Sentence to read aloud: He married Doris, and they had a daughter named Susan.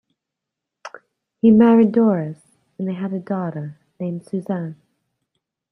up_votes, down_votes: 2, 1